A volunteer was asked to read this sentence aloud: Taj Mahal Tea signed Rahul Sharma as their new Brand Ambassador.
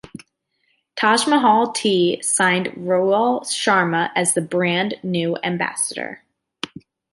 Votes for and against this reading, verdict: 0, 2, rejected